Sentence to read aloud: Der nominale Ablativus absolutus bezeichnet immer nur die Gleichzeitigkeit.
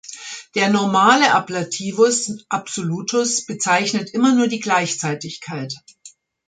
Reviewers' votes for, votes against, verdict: 1, 3, rejected